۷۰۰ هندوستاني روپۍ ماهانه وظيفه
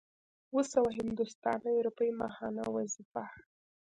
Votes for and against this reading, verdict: 0, 2, rejected